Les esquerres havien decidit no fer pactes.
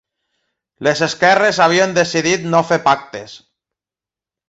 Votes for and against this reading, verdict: 2, 0, accepted